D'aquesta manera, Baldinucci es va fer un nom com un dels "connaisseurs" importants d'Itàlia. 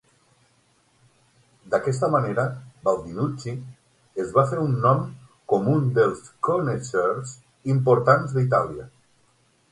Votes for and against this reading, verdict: 6, 0, accepted